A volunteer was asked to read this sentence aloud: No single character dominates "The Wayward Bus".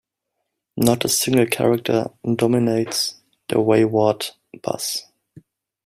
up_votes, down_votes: 1, 2